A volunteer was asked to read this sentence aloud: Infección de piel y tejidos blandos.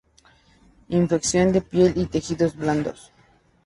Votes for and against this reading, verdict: 2, 0, accepted